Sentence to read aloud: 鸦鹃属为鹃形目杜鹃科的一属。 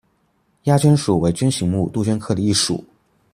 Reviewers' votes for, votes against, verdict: 2, 0, accepted